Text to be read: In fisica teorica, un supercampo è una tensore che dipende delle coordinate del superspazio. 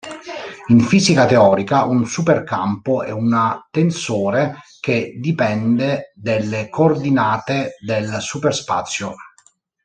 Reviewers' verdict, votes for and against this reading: rejected, 0, 2